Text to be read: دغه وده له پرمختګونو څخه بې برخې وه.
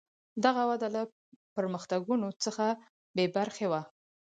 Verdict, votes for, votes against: accepted, 4, 0